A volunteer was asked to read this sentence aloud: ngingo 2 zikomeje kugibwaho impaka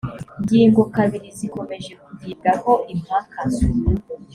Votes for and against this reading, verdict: 0, 2, rejected